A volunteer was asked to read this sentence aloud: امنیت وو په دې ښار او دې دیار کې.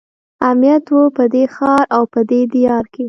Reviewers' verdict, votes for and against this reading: accepted, 2, 0